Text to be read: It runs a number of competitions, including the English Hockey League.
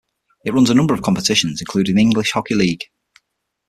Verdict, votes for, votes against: rejected, 3, 6